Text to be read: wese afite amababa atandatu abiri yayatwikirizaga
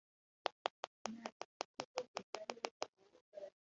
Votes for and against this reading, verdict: 0, 2, rejected